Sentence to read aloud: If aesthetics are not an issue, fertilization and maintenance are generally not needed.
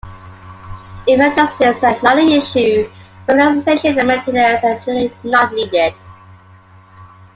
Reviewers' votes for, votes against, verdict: 2, 0, accepted